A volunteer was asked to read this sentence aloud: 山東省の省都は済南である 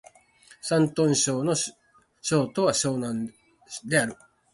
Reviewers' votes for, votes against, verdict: 1, 2, rejected